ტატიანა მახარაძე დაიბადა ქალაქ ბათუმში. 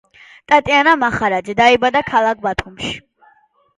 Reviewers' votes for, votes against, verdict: 2, 0, accepted